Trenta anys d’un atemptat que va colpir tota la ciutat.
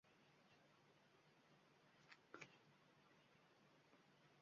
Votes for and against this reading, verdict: 1, 2, rejected